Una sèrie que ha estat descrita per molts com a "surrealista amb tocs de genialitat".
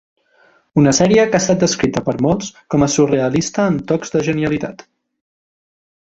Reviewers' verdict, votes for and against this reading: accepted, 2, 0